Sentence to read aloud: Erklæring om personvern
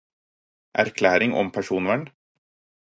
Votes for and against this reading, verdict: 4, 0, accepted